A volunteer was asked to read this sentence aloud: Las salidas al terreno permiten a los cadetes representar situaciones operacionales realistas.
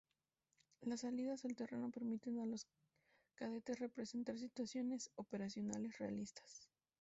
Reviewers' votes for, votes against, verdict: 0, 2, rejected